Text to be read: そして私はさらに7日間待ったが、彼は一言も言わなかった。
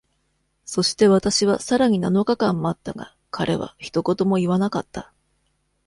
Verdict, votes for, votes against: rejected, 0, 2